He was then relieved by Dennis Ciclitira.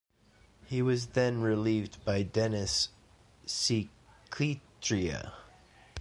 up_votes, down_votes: 1, 2